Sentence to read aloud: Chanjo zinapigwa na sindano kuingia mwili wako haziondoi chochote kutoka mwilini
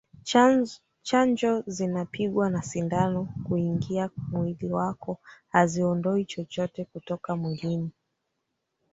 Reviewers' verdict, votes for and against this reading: rejected, 1, 3